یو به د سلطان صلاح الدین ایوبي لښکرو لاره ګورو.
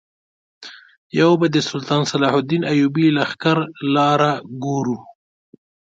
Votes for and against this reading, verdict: 2, 1, accepted